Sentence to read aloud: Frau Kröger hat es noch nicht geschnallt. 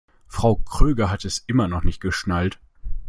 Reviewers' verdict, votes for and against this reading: rejected, 1, 2